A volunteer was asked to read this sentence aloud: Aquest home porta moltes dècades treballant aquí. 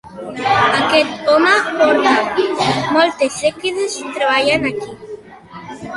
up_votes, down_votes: 2, 1